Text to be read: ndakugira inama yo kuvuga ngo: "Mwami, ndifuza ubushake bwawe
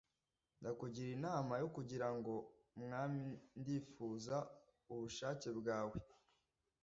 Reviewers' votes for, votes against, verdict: 1, 2, rejected